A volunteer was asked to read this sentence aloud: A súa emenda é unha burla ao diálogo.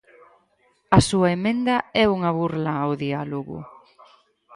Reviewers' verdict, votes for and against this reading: rejected, 2, 4